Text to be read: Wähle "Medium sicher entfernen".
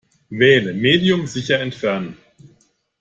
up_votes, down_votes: 2, 0